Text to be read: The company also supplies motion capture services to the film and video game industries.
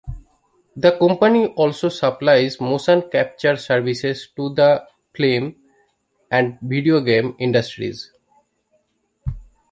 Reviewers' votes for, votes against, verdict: 0, 2, rejected